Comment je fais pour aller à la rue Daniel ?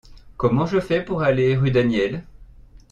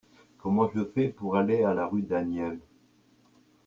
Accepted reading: second